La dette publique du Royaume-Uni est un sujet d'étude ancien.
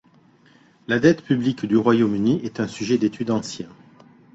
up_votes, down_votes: 2, 0